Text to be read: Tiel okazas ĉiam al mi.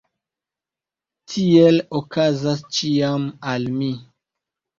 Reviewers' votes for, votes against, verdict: 3, 0, accepted